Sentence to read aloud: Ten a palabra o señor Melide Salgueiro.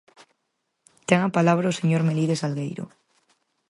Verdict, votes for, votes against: accepted, 4, 0